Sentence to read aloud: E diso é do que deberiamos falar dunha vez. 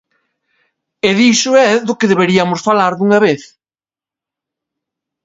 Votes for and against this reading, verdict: 1, 2, rejected